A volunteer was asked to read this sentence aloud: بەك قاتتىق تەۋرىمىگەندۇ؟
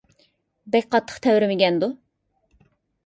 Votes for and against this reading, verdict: 2, 0, accepted